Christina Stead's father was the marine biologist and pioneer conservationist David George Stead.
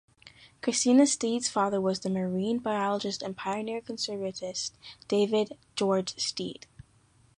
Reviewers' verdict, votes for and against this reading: rejected, 0, 2